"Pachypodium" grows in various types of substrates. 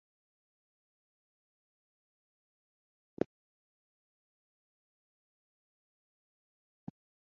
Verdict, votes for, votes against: rejected, 0, 2